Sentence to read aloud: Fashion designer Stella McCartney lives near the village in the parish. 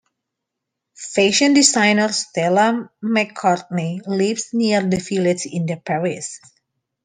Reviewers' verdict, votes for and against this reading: rejected, 1, 2